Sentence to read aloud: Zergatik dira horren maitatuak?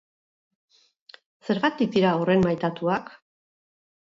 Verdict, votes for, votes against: accepted, 4, 0